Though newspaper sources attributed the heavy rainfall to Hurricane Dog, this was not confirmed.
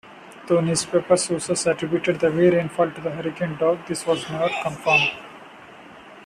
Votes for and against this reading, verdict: 0, 2, rejected